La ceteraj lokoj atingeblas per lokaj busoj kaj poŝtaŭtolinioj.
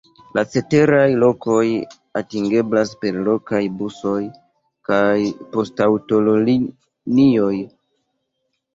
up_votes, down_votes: 0, 2